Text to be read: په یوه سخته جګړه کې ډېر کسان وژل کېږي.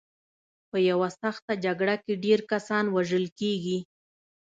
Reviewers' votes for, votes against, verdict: 2, 0, accepted